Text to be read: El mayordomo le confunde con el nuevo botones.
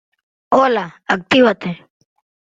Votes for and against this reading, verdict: 0, 3, rejected